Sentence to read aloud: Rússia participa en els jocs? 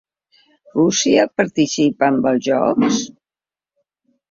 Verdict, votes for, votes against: rejected, 0, 2